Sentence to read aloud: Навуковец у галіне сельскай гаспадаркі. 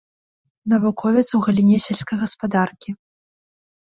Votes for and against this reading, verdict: 2, 0, accepted